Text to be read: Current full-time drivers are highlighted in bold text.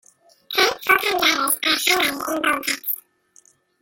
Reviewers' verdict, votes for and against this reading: rejected, 1, 2